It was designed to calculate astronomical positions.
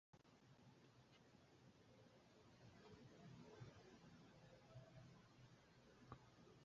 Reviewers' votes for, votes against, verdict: 0, 2, rejected